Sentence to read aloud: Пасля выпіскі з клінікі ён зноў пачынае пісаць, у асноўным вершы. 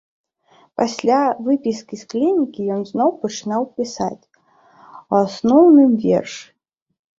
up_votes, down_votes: 0, 2